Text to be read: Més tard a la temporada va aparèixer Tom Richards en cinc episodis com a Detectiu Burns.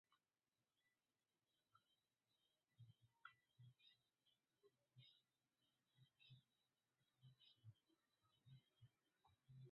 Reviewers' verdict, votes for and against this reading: rejected, 0, 2